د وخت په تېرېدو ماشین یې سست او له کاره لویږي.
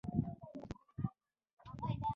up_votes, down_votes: 1, 2